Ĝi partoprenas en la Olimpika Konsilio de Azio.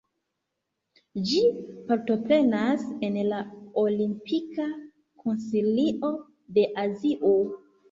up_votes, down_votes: 0, 2